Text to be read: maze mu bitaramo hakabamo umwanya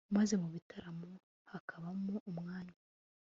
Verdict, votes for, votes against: accepted, 2, 0